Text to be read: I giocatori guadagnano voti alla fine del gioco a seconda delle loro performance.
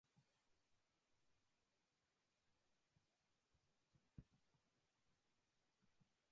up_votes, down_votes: 0, 2